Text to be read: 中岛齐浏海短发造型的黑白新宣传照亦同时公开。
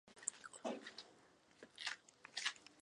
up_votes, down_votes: 0, 3